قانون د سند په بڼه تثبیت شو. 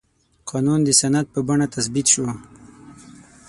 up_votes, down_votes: 6, 0